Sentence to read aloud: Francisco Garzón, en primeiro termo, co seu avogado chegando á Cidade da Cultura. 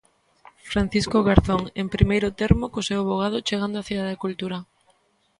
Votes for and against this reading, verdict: 2, 0, accepted